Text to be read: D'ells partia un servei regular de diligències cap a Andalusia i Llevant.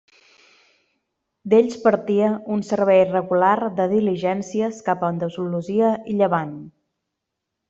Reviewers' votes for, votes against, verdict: 1, 2, rejected